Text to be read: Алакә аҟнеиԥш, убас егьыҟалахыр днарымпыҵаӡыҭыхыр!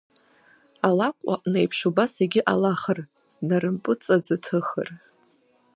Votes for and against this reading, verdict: 2, 1, accepted